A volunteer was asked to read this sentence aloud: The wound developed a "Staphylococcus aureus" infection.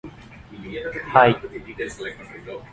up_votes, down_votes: 0, 2